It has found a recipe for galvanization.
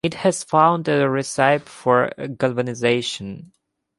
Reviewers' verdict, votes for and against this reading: accepted, 2, 0